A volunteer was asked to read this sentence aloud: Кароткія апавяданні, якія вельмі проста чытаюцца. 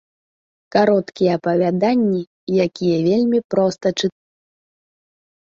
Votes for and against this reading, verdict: 0, 2, rejected